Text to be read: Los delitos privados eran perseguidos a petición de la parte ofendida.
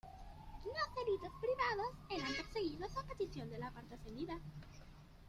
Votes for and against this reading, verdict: 1, 2, rejected